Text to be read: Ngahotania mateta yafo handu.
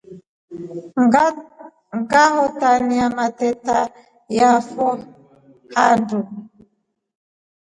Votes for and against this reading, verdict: 2, 0, accepted